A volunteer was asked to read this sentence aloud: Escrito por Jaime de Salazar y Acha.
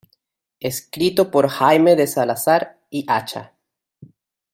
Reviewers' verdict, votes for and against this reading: rejected, 1, 2